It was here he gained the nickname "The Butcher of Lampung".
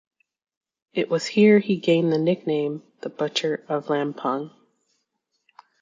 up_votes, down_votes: 2, 0